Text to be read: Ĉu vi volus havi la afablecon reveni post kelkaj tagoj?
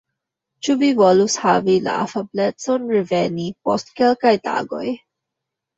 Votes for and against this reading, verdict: 1, 2, rejected